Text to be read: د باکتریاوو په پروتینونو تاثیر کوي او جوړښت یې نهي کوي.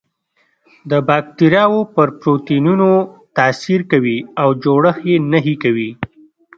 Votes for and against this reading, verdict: 2, 0, accepted